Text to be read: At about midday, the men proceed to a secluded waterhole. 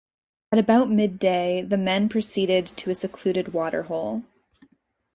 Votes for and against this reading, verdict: 0, 2, rejected